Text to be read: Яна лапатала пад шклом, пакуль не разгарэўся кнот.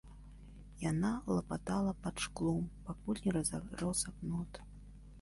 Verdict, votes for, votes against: rejected, 1, 2